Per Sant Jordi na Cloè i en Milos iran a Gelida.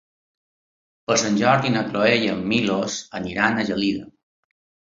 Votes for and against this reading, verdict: 0, 2, rejected